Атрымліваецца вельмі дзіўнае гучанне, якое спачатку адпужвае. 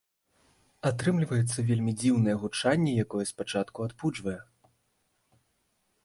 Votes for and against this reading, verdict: 2, 0, accepted